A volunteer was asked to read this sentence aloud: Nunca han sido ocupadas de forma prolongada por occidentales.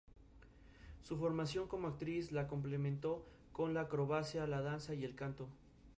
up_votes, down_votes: 0, 2